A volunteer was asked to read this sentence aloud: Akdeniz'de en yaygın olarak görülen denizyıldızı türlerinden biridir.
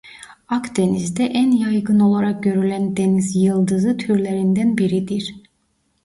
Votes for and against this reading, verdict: 2, 0, accepted